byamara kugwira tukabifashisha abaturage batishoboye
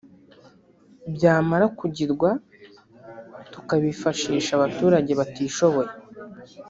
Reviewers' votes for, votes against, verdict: 0, 2, rejected